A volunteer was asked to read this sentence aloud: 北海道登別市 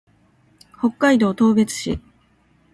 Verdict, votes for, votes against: rejected, 1, 2